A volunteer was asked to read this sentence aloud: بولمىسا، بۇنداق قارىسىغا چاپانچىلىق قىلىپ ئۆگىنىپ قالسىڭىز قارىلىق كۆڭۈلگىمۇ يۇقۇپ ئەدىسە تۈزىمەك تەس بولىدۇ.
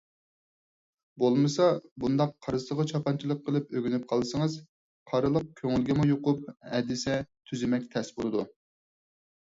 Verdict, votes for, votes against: accepted, 4, 0